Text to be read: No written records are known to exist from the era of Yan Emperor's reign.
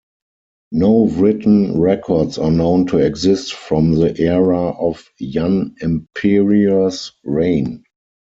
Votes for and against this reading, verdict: 2, 4, rejected